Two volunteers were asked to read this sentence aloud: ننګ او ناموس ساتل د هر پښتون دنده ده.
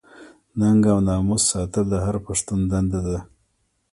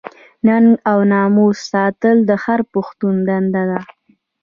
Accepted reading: second